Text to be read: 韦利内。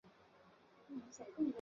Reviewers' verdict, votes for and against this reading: rejected, 0, 2